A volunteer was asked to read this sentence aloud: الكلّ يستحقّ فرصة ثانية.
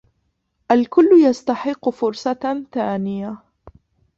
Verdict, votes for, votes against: rejected, 1, 2